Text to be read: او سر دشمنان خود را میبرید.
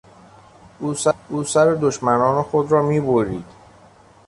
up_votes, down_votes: 1, 3